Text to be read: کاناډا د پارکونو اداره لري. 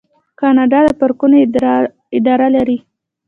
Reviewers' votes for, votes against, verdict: 1, 2, rejected